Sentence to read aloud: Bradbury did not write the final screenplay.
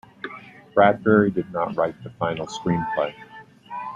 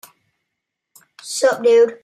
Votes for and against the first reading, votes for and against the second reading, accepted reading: 2, 0, 0, 2, first